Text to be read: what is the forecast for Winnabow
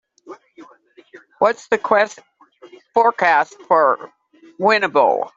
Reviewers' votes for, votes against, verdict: 0, 2, rejected